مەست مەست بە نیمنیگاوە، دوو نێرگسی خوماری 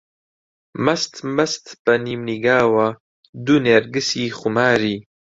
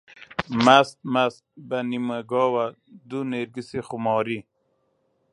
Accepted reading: first